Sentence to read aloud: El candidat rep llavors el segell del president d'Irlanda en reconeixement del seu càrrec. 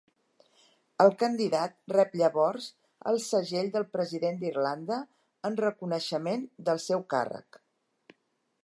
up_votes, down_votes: 2, 0